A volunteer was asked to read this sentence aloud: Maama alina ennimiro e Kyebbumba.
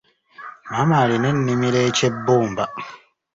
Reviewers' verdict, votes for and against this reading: accepted, 2, 0